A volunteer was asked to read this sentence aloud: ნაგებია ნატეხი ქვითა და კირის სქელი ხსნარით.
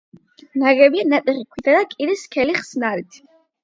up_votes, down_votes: 8, 0